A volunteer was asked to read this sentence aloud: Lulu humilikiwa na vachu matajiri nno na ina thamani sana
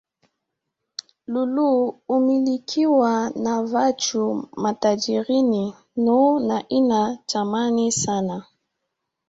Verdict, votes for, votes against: rejected, 1, 2